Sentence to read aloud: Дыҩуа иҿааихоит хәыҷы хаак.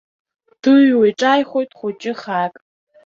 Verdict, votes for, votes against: accepted, 2, 0